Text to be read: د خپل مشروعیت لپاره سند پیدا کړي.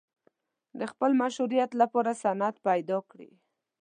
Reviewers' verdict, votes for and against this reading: accepted, 2, 0